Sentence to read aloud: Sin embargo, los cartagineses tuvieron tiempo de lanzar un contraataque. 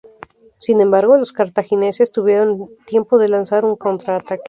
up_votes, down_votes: 2, 0